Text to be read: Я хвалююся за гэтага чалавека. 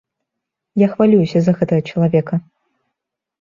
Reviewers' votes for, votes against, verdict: 1, 2, rejected